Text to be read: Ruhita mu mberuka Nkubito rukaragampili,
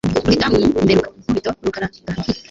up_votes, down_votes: 1, 2